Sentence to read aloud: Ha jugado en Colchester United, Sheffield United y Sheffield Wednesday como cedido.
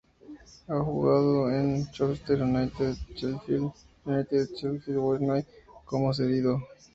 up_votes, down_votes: 0, 2